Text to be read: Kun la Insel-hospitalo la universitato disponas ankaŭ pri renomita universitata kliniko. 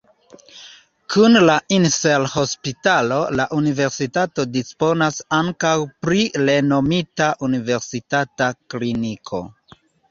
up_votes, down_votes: 2, 0